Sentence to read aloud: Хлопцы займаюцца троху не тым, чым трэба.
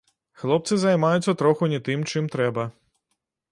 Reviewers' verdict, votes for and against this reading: accepted, 2, 0